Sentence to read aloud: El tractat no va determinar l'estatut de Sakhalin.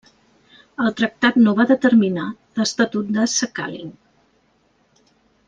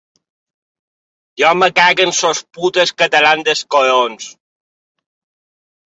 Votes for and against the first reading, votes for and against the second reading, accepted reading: 2, 0, 1, 2, first